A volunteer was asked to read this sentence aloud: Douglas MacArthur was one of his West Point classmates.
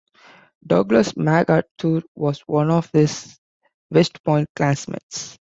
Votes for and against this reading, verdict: 2, 1, accepted